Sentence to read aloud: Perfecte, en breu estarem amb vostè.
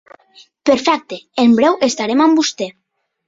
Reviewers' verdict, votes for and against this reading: accepted, 3, 0